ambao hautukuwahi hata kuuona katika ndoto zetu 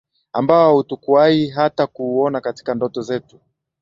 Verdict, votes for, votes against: rejected, 1, 2